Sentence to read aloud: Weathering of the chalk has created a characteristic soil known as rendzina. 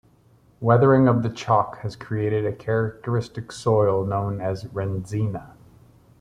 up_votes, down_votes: 2, 0